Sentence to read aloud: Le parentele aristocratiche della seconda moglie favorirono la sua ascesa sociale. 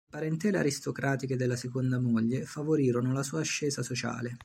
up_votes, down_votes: 1, 2